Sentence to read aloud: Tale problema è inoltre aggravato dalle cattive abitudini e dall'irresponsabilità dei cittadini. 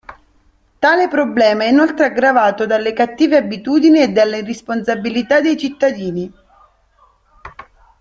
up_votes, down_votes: 0, 2